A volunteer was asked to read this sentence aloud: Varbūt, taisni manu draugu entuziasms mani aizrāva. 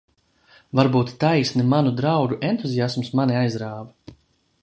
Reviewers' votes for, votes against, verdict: 1, 2, rejected